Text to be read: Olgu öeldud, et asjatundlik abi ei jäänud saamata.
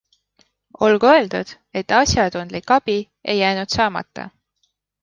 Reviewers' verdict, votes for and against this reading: accepted, 2, 0